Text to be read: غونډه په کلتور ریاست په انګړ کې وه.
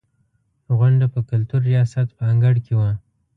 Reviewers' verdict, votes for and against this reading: accepted, 2, 0